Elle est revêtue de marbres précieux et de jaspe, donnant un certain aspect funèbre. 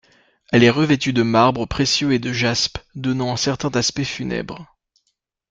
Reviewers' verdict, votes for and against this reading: rejected, 0, 2